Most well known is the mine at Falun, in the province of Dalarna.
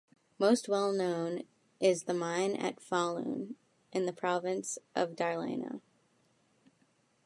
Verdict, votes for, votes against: rejected, 1, 2